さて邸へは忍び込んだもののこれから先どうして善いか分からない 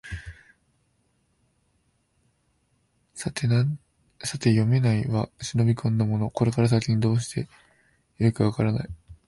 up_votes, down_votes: 0, 3